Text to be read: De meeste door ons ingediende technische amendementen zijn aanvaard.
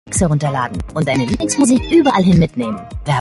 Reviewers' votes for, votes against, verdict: 0, 2, rejected